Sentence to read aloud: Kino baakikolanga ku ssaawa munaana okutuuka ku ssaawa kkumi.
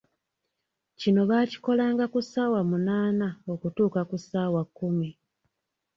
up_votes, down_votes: 2, 0